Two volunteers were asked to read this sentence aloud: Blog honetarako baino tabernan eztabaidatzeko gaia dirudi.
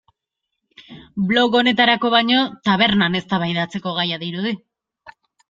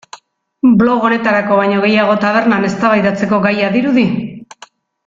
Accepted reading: first